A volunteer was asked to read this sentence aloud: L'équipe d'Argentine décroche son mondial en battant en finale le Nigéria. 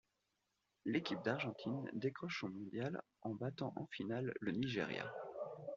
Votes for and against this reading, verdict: 2, 0, accepted